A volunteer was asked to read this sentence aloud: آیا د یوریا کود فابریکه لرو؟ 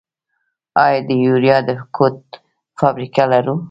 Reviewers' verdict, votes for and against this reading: accepted, 2, 0